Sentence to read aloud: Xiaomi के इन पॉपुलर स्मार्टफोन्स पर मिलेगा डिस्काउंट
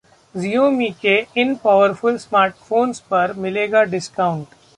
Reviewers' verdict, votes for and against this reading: accepted, 2, 1